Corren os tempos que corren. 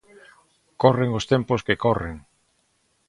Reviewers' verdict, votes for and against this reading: accepted, 2, 0